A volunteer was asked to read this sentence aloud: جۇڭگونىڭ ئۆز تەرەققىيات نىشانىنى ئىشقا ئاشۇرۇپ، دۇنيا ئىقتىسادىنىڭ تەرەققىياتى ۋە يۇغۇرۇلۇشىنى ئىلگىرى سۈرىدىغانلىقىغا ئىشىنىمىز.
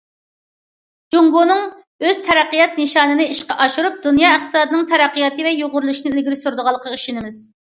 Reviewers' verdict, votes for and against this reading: accepted, 2, 0